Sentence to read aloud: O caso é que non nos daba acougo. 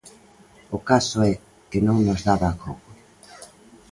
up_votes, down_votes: 3, 0